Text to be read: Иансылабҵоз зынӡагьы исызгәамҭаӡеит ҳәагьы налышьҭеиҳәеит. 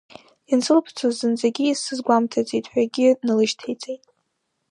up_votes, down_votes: 1, 2